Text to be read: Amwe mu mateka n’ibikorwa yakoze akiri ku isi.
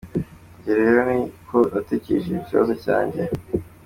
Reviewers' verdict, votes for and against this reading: rejected, 0, 2